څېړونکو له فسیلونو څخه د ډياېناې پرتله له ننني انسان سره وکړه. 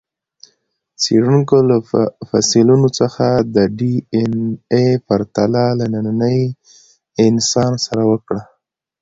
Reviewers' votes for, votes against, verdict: 1, 2, rejected